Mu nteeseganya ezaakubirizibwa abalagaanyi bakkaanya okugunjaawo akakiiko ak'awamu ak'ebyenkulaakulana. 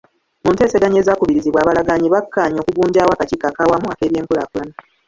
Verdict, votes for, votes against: rejected, 1, 2